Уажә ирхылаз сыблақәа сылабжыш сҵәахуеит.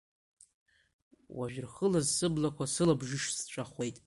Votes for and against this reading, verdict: 1, 2, rejected